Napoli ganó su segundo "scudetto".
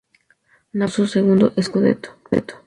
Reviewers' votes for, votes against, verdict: 0, 4, rejected